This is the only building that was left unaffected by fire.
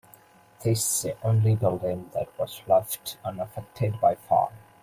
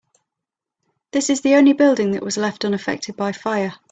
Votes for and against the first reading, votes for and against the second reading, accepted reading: 1, 2, 4, 0, second